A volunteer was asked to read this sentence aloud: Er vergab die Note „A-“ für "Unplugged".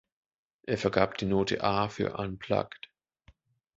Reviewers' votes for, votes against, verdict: 1, 2, rejected